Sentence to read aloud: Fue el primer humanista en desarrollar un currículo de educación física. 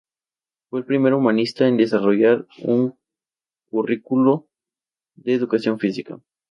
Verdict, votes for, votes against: accepted, 4, 0